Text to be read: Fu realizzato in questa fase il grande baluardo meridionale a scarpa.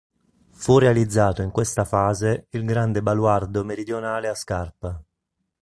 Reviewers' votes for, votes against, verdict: 2, 0, accepted